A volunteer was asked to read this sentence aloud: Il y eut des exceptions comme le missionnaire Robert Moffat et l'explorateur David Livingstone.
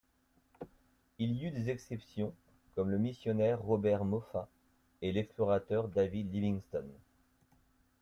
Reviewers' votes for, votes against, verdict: 0, 2, rejected